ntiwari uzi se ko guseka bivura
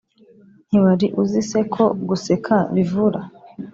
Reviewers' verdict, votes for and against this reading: accepted, 2, 0